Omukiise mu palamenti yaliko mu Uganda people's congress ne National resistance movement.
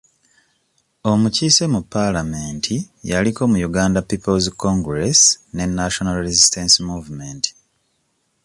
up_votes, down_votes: 2, 0